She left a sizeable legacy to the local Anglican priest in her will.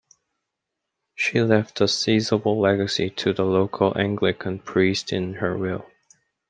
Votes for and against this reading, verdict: 2, 0, accepted